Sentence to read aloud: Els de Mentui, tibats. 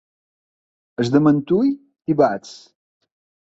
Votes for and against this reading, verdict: 2, 0, accepted